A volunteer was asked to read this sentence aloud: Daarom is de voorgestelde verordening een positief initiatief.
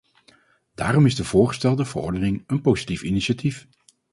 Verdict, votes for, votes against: rejected, 2, 2